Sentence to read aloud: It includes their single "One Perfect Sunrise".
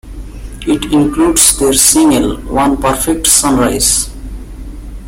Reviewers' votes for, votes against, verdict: 1, 2, rejected